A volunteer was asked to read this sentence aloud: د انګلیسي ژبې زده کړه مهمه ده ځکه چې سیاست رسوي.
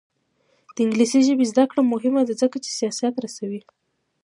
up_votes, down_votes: 2, 1